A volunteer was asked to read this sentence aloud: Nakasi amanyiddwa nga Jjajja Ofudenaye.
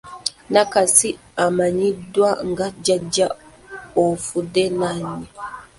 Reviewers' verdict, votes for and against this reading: rejected, 0, 2